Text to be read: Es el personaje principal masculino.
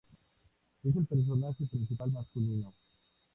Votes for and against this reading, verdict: 2, 0, accepted